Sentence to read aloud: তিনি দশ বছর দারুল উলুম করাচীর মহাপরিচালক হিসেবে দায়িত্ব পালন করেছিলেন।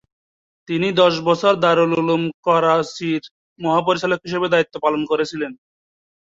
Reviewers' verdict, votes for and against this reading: rejected, 1, 2